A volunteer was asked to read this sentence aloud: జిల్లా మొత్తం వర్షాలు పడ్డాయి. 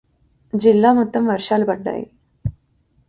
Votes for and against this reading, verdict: 2, 0, accepted